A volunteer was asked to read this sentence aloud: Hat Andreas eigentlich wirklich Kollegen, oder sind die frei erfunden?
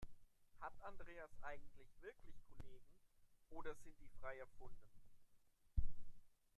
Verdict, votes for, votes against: rejected, 0, 2